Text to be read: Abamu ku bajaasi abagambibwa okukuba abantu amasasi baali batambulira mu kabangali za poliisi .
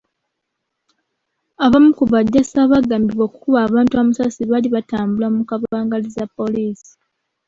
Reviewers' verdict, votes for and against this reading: rejected, 1, 2